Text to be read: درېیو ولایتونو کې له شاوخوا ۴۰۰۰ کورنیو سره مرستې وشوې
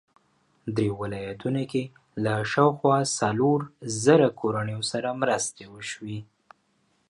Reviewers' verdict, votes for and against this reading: rejected, 0, 2